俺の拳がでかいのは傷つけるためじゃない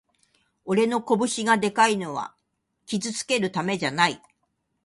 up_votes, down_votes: 2, 0